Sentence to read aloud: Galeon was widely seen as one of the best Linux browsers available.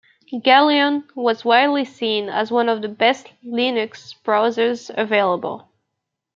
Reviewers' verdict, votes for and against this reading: accepted, 2, 0